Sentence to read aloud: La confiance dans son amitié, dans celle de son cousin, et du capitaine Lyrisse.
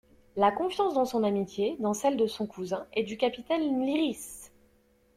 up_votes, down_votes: 2, 0